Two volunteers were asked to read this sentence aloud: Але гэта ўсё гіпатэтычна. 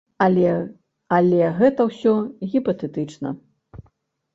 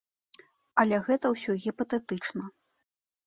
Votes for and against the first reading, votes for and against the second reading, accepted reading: 1, 2, 2, 0, second